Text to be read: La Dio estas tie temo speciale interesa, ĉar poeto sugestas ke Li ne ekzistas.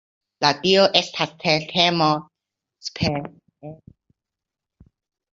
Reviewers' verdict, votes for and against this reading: rejected, 0, 2